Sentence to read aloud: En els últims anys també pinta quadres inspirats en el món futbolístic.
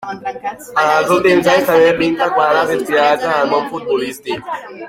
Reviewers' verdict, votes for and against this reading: accepted, 2, 0